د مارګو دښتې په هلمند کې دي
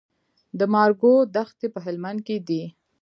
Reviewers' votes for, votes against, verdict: 2, 0, accepted